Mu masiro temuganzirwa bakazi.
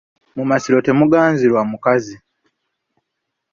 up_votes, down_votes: 2, 3